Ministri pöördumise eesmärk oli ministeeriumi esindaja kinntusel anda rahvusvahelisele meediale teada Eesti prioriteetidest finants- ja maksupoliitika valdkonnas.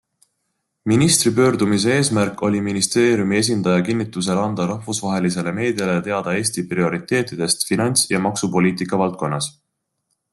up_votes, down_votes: 2, 0